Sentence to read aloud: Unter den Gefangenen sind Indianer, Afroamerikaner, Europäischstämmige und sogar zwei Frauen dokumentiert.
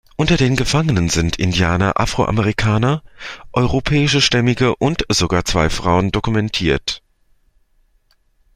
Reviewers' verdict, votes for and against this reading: rejected, 1, 2